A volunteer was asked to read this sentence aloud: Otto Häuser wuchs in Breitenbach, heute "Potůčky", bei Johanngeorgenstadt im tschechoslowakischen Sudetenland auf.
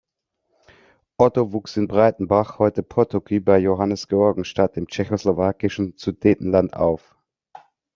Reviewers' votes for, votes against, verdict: 1, 2, rejected